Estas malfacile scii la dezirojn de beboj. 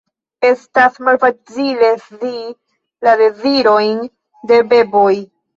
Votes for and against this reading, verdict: 2, 1, accepted